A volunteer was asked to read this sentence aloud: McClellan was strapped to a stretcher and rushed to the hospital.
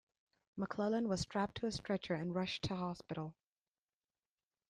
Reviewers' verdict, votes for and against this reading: rejected, 0, 3